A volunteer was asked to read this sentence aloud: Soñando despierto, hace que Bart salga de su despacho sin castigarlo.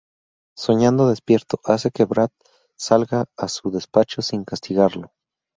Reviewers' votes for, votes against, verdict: 0, 2, rejected